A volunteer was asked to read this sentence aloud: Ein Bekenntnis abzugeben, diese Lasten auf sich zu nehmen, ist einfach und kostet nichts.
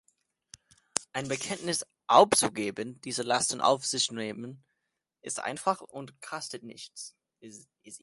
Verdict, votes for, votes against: rejected, 0, 2